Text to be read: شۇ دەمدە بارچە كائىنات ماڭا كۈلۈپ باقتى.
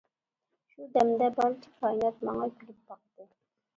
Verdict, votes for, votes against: rejected, 1, 3